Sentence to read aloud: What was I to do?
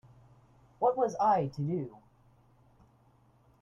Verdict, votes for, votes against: rejected, 0, 2